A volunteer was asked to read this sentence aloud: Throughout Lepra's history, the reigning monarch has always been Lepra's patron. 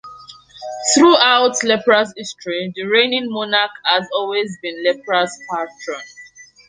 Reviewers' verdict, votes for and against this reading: accepted, 2, 1